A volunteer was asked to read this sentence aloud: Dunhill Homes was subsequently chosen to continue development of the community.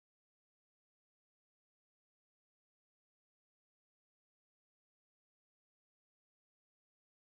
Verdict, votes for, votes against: rejected, 0, 2